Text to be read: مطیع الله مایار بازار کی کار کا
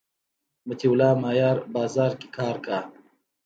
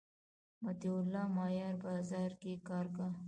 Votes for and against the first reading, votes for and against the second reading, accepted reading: 2, 0, 1, 2, first